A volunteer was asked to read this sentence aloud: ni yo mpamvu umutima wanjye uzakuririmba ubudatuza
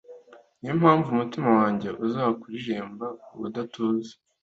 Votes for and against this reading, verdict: 2, 0, accepted